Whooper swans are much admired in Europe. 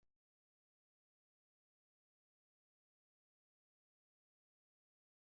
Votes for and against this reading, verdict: 0, 2, rejected